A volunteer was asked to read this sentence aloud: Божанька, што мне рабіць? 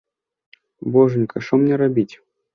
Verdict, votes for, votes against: accepted, 2, 0